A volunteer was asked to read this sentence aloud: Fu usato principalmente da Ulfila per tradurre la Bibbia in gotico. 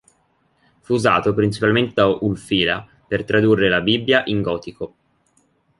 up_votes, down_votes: 2, 0